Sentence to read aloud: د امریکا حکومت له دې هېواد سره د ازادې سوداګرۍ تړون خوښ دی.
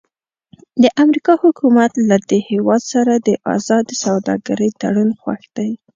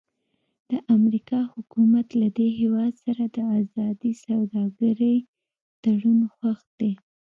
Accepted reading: second